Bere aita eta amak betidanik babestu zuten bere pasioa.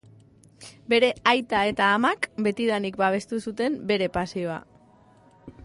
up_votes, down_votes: 0, 2